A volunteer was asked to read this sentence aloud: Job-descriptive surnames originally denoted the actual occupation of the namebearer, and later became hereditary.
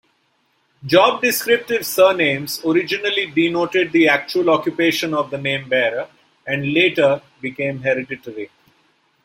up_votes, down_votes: 2, 0